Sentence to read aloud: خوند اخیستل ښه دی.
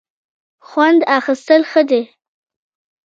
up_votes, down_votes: 0, 2